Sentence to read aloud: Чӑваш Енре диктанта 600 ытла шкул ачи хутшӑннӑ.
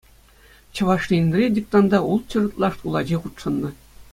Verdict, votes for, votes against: rejected, 0, 2